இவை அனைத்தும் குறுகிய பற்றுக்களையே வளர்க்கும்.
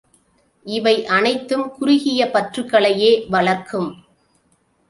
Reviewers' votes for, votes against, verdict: 2, 0, accepted